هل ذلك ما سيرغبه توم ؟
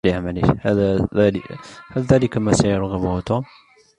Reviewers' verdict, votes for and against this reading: rejected, 2, 3